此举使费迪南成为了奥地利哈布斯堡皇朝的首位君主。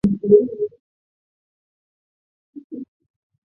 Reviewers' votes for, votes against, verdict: 0, 3, rejected